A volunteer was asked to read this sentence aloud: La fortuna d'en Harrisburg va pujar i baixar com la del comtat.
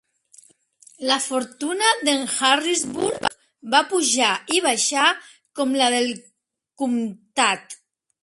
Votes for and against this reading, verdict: 1, 2, rejected